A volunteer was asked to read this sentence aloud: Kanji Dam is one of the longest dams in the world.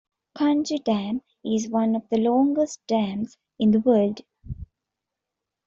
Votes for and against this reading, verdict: 2, 0, accepted